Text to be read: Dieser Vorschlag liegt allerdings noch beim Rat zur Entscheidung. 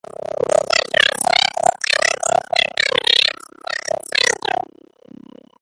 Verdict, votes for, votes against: rejected, 0, 2